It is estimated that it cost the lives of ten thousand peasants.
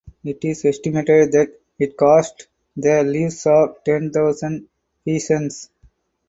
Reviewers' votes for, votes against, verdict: 0, 4, rejected